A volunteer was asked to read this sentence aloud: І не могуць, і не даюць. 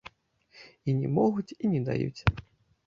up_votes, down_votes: 2, 0